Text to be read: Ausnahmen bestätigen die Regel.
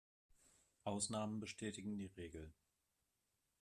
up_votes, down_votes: 2, 0